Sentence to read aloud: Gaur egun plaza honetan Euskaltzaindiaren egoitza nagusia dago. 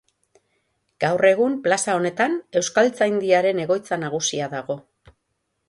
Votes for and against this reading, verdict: 6, 0, accepted